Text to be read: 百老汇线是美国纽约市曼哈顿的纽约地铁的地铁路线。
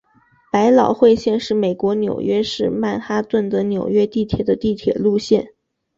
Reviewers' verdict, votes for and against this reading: rejected, 0, 2